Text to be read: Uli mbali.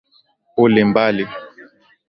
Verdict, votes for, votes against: accepted, 2, 0